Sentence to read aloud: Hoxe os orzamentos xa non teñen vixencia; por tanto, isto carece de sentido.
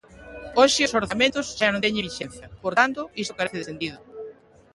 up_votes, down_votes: 2, 1